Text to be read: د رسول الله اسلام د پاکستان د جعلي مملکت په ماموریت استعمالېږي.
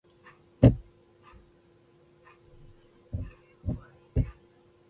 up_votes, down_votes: 1, 2